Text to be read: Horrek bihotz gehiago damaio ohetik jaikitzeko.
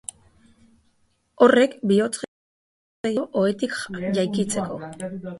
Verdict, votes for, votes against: rejected, 0, 4